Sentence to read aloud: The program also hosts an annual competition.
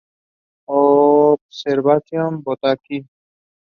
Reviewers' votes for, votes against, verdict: 0, 2, rejected